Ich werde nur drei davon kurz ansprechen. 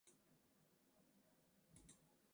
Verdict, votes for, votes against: rejected, 0, 2